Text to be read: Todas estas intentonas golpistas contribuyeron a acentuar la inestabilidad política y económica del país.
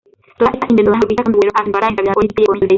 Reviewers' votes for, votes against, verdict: 0, 2, rejected